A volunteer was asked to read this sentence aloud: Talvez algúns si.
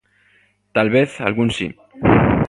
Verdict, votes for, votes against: rejected, 0, 2